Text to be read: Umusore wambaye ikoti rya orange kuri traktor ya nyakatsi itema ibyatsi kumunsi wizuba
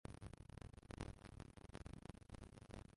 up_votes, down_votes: 0, 2